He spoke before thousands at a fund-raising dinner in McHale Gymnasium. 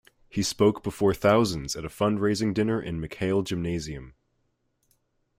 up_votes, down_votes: 2, 0